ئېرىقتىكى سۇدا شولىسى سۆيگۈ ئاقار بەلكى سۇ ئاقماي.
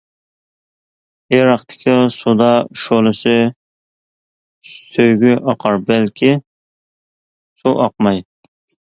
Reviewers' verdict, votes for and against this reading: accepted, 2, 1